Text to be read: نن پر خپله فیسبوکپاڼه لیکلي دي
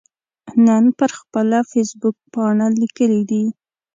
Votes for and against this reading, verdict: 2, 0, accepted